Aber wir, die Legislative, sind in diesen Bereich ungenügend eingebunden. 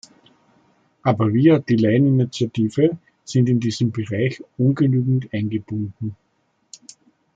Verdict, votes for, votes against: rejected, 0, 2